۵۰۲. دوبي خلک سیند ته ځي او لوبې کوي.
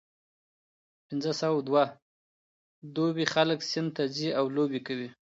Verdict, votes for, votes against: rejected, 0, 2